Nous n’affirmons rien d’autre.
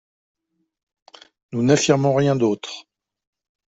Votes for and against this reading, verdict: 2, 0, accepted